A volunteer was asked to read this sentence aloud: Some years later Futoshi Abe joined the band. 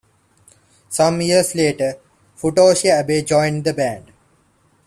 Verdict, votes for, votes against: accepted, 2, 0